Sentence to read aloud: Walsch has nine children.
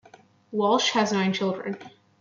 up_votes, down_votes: 2, 0